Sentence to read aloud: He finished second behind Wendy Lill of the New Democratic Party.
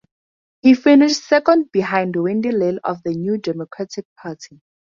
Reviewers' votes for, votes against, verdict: 4, 2, accepted